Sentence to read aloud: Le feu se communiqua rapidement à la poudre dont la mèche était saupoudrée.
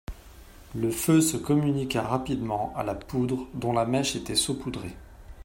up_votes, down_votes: 2, 0